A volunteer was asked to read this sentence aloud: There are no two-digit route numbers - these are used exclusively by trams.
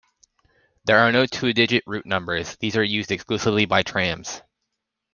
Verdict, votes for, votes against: accepted, 2, 0